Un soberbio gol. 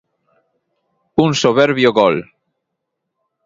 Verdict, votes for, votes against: accepted, 2, 0